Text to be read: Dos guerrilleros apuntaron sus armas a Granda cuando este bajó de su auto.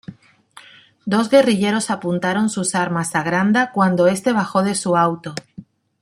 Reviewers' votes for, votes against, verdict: 2, 0, accepted